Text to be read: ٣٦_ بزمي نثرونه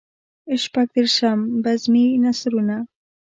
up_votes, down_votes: 0, 2